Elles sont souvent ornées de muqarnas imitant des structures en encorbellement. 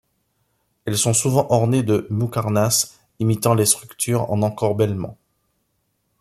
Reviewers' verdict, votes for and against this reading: rejected, 0, 2